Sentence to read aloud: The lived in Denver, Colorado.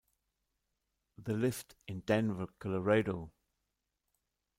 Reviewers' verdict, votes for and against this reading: rejected, 1, 2